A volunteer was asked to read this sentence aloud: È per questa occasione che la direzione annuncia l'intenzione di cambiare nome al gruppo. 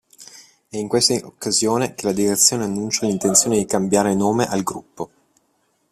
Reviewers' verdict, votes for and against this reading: rejected, 0, 2